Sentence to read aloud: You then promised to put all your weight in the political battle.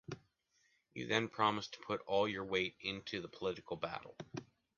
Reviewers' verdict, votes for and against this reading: rejected, 1, 2